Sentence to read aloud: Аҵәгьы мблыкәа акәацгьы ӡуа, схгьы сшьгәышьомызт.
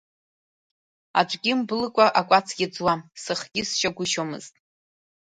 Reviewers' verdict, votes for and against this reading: rejected, 0, 2